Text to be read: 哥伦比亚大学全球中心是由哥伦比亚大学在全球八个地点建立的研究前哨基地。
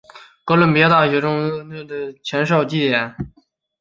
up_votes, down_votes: 4, 5